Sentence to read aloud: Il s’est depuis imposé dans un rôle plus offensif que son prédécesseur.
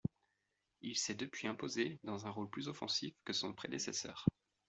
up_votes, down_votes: 2, 0